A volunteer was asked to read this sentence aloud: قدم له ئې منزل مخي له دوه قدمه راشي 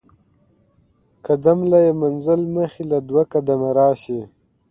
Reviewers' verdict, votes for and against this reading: accepted, 2, 0